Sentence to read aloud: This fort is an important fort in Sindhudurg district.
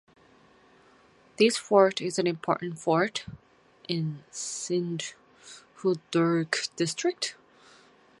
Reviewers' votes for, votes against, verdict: 2, 4, rejected